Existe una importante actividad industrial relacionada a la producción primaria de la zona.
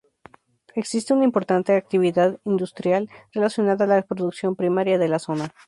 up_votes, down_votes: 2, 0